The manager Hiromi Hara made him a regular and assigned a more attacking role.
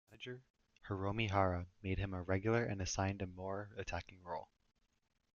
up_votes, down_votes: 0, 2